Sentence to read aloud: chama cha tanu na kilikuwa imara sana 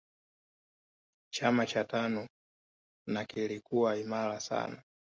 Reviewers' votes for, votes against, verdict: 1, 2, rejected